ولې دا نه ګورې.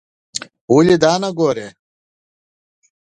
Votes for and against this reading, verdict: 2, 0, accepted